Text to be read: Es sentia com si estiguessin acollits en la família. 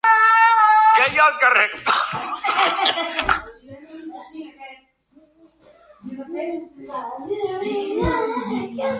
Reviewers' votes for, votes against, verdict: 0, 2, rejected